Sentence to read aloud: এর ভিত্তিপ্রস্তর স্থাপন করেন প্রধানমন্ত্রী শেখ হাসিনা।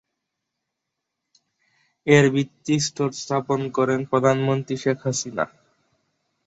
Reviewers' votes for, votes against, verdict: 1, 7, rejected